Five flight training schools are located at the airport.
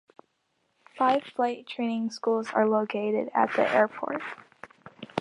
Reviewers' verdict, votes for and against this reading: accepted, 2, 0